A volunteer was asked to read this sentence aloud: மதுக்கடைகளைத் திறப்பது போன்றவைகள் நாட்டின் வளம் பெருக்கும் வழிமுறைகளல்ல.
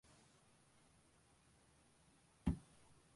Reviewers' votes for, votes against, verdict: 0, 2, rejected